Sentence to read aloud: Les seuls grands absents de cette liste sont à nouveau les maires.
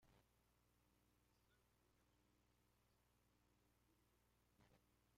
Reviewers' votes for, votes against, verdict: 0, 2, rejected